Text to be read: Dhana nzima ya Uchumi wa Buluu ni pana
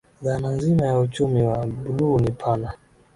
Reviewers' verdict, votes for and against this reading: accepted, 7, 2